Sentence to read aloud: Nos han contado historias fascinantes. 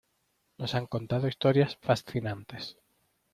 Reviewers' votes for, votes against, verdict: 1, 2, rejected